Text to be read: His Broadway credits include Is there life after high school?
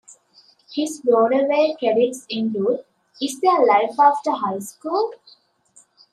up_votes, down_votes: 1, 2